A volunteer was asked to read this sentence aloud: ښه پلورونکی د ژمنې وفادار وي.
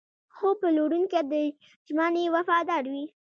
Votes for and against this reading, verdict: 2, 0, accepted